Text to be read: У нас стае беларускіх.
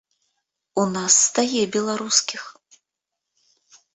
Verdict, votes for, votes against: accepted, 2, 0